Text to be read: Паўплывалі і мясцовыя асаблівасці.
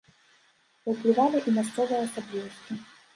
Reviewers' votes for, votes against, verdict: 2, 1, accepted